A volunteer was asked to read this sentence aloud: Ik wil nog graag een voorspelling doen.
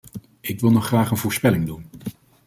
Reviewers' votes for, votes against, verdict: 2, 0, accepted